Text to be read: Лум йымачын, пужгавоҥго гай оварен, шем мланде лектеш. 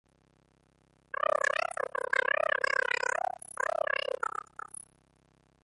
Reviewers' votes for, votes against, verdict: 0, 2, rejected